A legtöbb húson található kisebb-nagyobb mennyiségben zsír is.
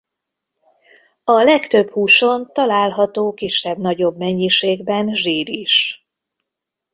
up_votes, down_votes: 2, 0